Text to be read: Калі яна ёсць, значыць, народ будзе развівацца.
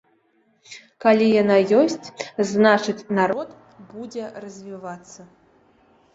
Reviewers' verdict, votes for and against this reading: accepted, 2, 0